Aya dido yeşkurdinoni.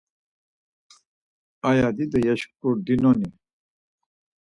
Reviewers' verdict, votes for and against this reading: accepted, 4, 0